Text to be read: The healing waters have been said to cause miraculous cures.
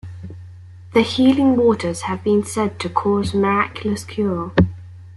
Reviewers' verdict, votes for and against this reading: rejected, 1, 2